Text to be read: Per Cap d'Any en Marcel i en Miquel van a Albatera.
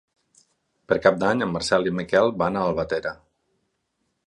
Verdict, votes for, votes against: rejected, 0, 4